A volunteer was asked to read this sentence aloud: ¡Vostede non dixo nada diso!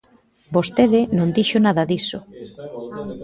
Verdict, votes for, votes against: rejected, 0, 2